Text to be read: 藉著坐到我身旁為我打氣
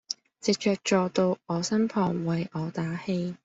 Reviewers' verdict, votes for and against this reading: accepted, 2, 0